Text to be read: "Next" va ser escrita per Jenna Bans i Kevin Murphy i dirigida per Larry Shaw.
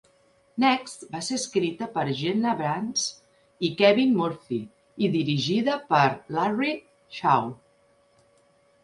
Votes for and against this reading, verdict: 2, 0, accepted